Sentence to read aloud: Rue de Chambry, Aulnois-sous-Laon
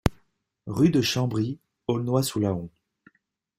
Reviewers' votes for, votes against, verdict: 2, 0, accepted